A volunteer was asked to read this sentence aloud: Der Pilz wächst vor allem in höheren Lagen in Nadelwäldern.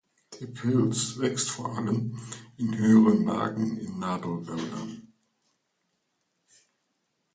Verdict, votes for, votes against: accepted, 2, 1